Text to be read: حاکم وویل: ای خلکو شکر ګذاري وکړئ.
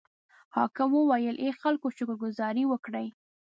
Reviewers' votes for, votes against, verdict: 2, 0, accepted